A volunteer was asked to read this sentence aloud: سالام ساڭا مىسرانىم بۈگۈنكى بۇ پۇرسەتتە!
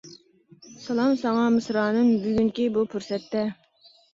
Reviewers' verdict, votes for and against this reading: accepted, 2, 0